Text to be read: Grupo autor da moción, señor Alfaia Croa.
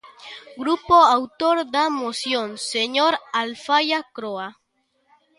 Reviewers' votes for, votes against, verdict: 2, 0, accepted